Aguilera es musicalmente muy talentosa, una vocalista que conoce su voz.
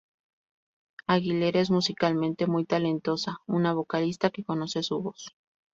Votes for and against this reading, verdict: 2, 0, accepted